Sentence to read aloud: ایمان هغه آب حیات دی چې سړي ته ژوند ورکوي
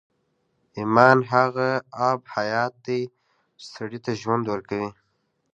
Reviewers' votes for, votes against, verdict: 2, 0, accepted